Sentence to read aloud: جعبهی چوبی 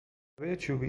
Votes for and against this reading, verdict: 0, 2, rejected